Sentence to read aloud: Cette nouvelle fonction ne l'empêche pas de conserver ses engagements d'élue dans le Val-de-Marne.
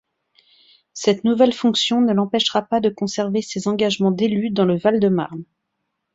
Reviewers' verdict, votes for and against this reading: rejected, 0, 2